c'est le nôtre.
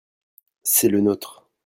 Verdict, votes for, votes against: accepted, 2, 0